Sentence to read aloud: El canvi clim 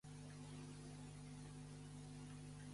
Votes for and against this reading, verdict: 0, 2, rejected